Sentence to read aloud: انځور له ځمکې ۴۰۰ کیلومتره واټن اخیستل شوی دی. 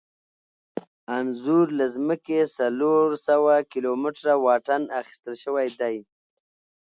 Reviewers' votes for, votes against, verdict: 0, 2, rejected